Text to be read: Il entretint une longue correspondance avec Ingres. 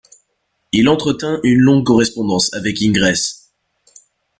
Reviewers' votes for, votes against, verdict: 0, 2, rejected